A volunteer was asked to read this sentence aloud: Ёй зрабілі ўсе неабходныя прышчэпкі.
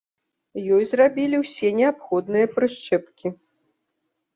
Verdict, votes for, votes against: accepted, 2, 0